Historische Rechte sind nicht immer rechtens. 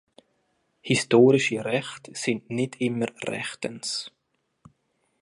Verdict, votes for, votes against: accepted, 2, 1